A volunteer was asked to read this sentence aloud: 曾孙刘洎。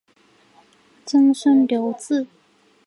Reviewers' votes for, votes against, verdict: 3, 0, accepted